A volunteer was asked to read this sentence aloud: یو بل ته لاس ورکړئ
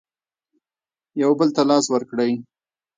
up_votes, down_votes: 1, 2